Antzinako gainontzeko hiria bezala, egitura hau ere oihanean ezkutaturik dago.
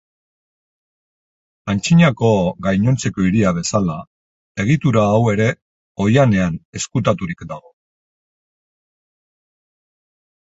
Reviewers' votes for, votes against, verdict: 6, 0, accepted